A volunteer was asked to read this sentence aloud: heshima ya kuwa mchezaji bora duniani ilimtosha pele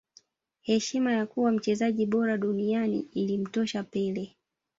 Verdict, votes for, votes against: rejected, 0, 2